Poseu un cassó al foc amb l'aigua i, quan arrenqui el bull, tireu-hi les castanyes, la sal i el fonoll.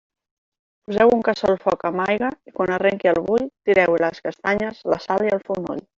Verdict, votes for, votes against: rejected, 0, 2